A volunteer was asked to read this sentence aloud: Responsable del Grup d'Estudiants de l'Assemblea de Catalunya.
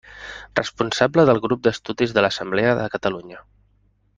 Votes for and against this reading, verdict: 0, 2, rejected